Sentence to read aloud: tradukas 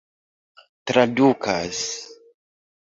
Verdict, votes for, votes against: accepted, 2, 0